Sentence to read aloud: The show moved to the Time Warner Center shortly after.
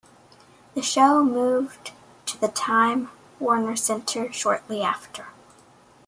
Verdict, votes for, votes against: accepted, 2, 0